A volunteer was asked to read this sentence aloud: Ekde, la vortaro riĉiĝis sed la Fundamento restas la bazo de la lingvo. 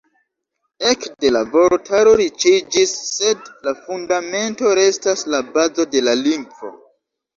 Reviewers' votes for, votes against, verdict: 2, 0, accepted